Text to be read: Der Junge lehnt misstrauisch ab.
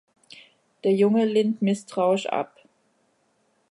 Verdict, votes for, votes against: accepted, 2, 0